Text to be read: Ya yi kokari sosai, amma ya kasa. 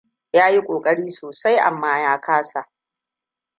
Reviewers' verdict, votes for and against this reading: rejected, 1, 2